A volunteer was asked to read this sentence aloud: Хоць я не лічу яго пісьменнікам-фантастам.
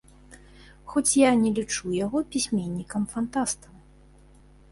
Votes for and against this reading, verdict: 2, 0, accepted